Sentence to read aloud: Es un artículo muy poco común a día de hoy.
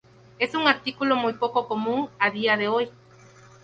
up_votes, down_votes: 2, 0